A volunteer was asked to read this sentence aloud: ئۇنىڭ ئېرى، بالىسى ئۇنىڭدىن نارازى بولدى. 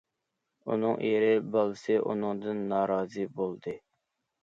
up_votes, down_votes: 2, 0